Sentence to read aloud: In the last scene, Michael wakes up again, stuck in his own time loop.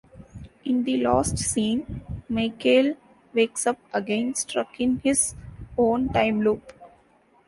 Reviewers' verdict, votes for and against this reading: rejected, 0, 2